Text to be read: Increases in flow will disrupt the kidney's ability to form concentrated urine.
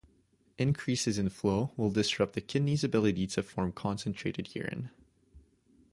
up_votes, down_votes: 2, 0